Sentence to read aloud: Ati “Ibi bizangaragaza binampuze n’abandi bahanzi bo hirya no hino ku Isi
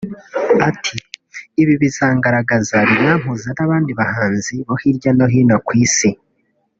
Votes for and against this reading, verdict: 0, 2, rejected